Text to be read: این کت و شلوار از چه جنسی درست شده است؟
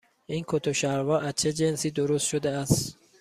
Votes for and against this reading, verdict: 2, 0, accepted